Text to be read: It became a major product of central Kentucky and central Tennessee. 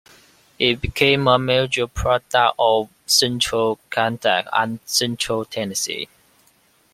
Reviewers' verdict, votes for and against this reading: rejected, 0, 2